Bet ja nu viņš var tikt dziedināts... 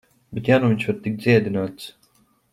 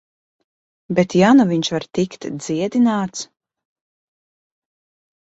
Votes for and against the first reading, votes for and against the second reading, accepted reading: 0, 2, 2, 0, second